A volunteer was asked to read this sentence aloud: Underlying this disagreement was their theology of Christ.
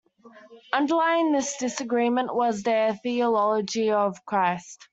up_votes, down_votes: 2, 0